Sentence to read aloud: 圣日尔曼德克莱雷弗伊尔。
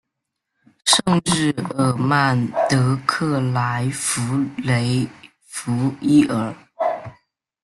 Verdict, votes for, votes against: rejected, 0, 2